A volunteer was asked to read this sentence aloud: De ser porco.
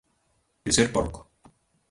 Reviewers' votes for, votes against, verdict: 2, 1, accepted